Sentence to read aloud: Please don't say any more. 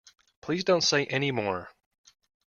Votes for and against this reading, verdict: 2, 0, accepted